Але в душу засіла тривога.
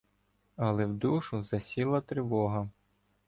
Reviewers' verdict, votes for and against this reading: accepted, 2, 0